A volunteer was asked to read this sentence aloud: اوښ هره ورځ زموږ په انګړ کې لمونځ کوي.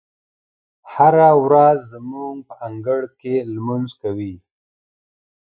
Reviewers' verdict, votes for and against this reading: rejected, 0, 2